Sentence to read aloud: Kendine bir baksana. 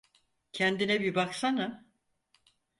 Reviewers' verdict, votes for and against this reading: accepted, 4, 0